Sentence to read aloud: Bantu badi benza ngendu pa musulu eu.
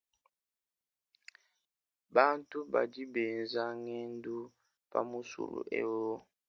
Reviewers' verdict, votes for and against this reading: accepted, 2, 0